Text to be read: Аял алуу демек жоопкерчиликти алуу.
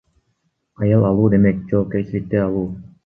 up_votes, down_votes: 1, 2